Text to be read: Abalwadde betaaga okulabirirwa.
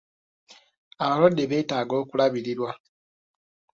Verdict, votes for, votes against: accepted, 3, 0